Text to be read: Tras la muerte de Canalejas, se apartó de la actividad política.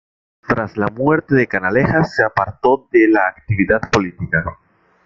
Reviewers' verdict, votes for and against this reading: accepted, 2, 0